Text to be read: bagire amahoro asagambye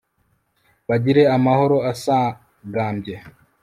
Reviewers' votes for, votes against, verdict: 3, 0, accepted